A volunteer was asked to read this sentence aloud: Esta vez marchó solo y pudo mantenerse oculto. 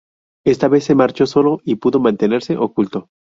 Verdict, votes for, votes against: rejected, 0, 2